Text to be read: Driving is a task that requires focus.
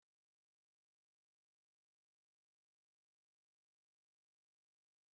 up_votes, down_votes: 0, 2